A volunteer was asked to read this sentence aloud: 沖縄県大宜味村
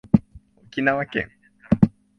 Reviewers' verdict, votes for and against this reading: rejected, 1, 2